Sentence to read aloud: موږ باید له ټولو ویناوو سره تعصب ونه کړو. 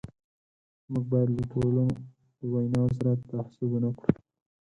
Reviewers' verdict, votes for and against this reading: rejected, 2, 8